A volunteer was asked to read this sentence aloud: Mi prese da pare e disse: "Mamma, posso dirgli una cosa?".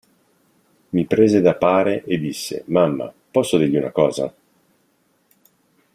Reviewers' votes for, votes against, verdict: 2, 0, accepted